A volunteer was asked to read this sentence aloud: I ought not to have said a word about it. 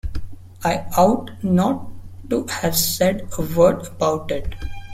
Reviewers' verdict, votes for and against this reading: rejected, 1, 2